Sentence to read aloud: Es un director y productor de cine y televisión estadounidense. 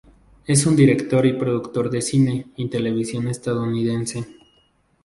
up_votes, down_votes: 0, 2